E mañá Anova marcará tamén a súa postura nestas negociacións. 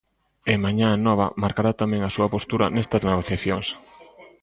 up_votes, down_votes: 1, 2